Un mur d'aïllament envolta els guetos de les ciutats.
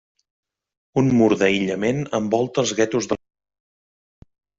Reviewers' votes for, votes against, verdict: 1, 2, rejected